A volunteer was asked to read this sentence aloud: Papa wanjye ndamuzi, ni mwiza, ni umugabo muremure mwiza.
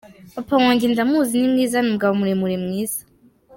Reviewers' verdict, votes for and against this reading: accepted, 2, 0